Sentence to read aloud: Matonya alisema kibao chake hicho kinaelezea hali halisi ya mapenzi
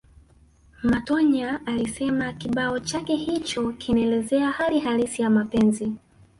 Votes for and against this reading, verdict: 4, 2, accepted